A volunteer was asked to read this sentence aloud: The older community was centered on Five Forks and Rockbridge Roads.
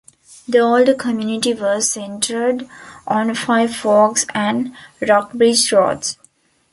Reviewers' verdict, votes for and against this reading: accepted, 2, 0